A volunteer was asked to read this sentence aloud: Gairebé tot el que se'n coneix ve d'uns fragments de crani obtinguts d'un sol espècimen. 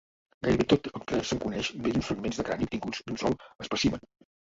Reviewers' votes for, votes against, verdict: 1, 2, rejected